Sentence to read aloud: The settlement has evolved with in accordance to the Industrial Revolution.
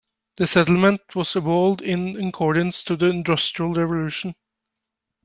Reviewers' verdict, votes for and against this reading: rejected, 0, 2